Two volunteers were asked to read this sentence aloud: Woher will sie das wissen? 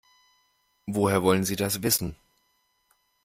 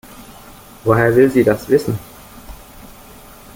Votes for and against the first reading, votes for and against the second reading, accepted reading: 0, 2, 2, 0, second